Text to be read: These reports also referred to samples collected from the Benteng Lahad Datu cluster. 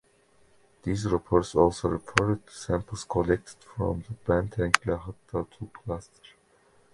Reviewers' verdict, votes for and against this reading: accepted, 2, 0